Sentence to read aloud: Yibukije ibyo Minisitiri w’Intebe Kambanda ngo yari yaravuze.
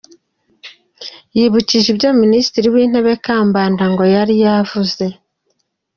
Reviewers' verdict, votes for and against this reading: accepted, 2, 0